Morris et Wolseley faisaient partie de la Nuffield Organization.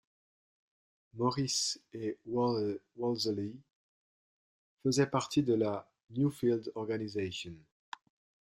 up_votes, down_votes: 1, 2